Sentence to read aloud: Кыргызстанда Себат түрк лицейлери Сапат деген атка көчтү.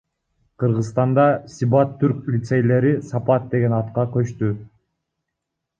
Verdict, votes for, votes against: rejected, 1, 2